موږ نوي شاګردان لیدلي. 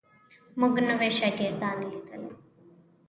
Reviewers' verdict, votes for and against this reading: rejected, 0, 2